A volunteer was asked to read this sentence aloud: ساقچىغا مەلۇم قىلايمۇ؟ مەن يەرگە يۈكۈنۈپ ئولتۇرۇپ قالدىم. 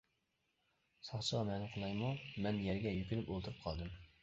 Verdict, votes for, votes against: rejected, 0, 2